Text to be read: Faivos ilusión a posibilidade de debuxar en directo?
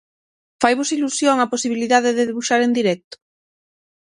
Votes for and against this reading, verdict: 6, 0, accepted